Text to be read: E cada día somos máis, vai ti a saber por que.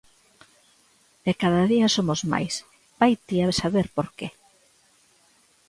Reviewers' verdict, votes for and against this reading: rejected, 1, 2